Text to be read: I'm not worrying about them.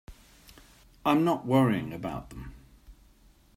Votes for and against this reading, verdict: 2, 0, accepted